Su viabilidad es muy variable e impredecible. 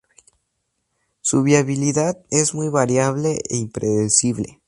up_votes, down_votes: 2, 0